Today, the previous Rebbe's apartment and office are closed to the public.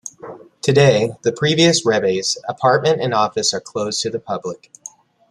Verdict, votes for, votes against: accepted, 2, 0